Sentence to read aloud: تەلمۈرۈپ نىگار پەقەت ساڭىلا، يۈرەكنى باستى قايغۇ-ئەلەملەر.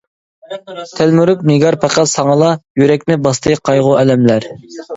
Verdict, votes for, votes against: rejected, 1, 2